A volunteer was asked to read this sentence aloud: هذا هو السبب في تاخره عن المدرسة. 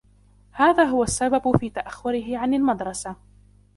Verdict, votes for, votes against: accepted, 2, 0